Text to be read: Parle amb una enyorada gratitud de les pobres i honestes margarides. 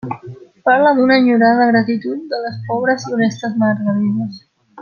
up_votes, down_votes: 0, 2